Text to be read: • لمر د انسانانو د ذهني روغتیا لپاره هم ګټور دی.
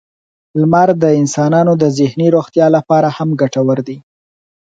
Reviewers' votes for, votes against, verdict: 4, 0, accepted